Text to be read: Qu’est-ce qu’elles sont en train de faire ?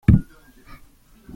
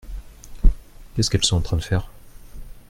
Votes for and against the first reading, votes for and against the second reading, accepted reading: 0, 2, 2, 1, second